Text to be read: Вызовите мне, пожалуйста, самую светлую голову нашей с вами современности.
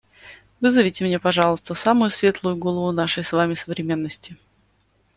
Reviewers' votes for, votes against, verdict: 2, 0, accepted